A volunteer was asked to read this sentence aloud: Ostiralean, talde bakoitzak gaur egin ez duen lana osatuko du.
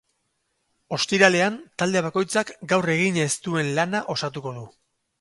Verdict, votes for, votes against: rejected, 2, 2